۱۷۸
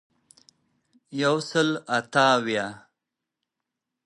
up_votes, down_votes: 0, 2